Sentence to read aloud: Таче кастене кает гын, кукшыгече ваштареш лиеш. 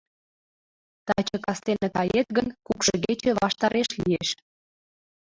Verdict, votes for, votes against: rejected, 1, 2